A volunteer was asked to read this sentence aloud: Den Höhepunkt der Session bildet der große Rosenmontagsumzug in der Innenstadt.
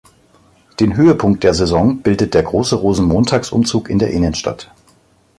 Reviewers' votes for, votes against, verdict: 2, 1, accepted